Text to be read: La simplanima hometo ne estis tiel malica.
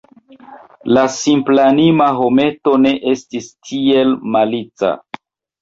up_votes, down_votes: 2, 1